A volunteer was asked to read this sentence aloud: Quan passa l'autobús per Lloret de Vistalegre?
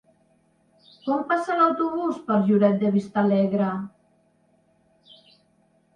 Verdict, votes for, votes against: accepted, 2, 0